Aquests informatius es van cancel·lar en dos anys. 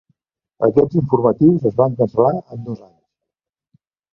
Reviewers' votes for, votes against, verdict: 0, 2, rejected